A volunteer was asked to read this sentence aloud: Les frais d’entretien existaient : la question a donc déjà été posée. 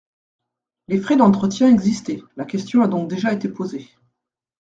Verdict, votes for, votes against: accepted, 2, 0